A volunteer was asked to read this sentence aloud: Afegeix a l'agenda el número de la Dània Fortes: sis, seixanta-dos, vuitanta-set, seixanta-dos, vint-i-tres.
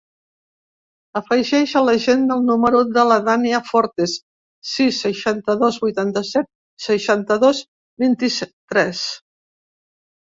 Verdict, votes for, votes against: rejected, 1, 2